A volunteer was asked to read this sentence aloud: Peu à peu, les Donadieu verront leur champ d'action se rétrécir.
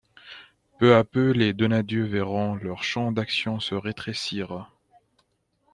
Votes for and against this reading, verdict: 2, 0, accepted